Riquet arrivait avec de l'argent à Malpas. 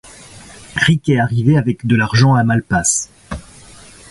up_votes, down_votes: 2, 0